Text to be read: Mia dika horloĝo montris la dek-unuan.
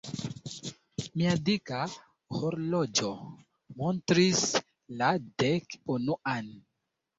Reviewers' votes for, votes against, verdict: 2, 0, accepted